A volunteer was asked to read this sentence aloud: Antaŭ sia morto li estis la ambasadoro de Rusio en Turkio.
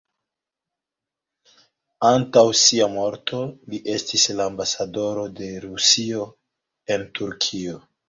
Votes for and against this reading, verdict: 3, 1, accepted